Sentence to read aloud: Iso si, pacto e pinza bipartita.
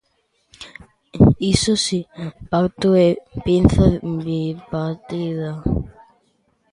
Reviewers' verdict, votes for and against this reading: rejected, 0, 2